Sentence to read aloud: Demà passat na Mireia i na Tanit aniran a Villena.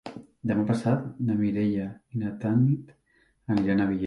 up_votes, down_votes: 2, 3